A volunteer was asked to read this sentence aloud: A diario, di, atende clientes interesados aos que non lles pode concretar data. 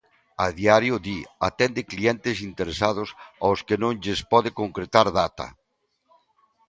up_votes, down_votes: 2, 0